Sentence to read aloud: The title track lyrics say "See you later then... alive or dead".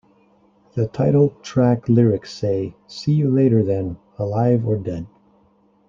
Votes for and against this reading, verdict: 2, 0, accepted